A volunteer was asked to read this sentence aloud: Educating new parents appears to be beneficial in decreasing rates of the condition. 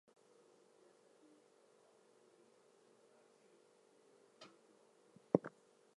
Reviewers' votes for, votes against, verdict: 0, 2, rejected